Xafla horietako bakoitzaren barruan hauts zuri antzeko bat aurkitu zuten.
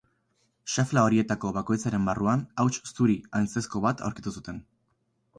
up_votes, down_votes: 0, 4